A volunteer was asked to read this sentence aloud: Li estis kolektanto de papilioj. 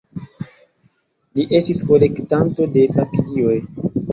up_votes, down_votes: 2, 0